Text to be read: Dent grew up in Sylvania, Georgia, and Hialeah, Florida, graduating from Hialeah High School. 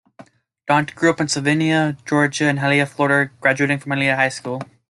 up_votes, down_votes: 2, 0